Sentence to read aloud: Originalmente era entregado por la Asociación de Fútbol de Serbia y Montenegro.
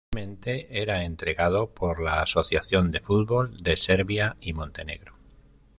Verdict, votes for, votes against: rejected, 1, 2